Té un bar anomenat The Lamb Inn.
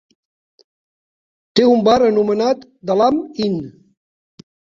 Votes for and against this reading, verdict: 2, 1, accepted